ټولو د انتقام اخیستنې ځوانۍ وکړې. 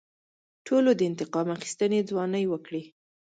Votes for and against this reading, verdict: 2, 0, accepted